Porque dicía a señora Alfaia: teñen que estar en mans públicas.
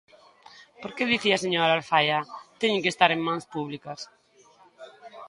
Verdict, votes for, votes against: rejected, 1, 2